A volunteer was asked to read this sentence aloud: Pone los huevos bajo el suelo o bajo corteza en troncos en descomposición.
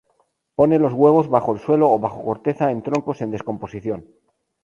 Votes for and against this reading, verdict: 2, 0, accepted